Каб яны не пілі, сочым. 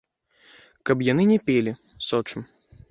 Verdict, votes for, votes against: rejected, 0, 2